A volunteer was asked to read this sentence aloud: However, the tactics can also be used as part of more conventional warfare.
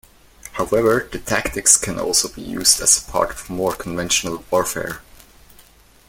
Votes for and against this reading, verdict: 1, 2, rejected